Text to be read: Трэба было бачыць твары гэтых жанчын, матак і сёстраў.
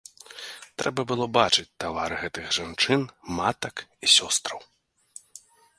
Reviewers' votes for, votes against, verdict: 1, 2, rejected